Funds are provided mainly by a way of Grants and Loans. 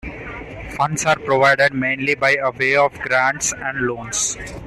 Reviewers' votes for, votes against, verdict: 2, 0, accepted